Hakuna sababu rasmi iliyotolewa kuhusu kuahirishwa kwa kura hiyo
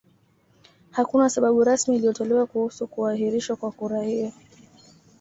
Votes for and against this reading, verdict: 2, 0, accepted